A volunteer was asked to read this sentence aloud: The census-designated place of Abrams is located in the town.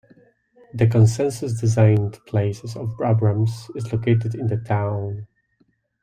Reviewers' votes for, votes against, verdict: 0, 2, rejected